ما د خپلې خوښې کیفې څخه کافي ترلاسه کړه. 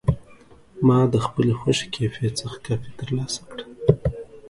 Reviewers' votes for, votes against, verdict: 2, 0, accepted